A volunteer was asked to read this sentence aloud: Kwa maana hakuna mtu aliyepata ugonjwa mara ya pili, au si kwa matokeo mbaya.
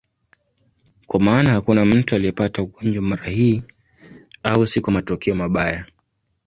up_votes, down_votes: 1, 2